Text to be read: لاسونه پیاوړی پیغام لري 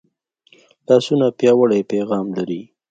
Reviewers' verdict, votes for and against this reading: accepted, 3, 0